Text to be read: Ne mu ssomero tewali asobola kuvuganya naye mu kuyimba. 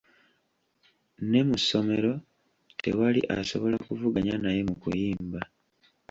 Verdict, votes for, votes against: accepted, 2, 1